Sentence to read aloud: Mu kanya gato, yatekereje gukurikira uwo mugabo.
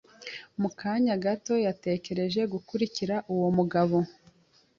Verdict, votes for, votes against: accepted, 2, 0